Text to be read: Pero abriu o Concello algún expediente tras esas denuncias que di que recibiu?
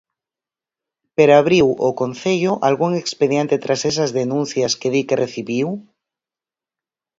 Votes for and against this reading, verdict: 4, 0, accepted